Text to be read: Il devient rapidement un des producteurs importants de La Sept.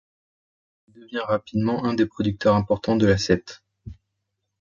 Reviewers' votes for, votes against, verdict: 1, 2, rejected